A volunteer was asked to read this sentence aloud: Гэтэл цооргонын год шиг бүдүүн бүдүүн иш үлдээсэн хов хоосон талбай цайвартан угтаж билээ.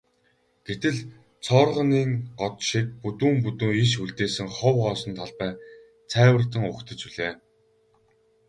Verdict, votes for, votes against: rejected, 0, 2